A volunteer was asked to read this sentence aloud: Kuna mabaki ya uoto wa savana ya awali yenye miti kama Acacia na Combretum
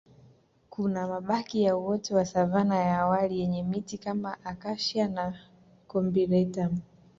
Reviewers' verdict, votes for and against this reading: accepted, 2, 0